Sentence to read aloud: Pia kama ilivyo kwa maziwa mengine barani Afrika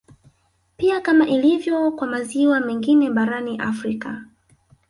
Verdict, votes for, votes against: rejected, 0, 2